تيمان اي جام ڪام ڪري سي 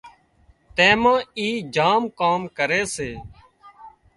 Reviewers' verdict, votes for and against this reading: accepted, 2, 0